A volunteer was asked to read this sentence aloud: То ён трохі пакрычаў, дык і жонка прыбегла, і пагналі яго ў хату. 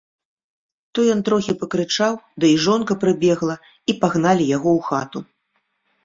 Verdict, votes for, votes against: rejected, 1, 2